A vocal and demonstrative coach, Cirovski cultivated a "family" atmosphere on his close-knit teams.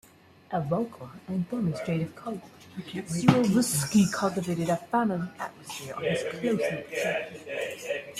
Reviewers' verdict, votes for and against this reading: rejected, 1, 2